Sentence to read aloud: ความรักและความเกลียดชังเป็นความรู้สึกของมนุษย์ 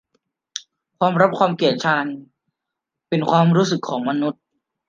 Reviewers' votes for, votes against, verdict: 0, 2, rejected